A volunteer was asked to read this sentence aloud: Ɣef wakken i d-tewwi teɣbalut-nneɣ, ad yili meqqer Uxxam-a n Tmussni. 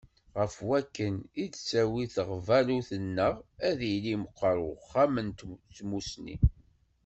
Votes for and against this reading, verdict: 1, 2, rejected